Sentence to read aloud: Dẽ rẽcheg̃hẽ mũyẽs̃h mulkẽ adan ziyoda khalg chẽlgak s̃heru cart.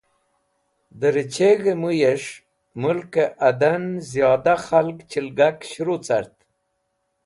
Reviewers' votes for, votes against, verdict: 2, 0, accepted